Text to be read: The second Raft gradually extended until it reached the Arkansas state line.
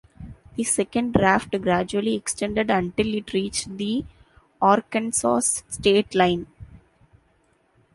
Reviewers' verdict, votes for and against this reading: accepted, 2, 0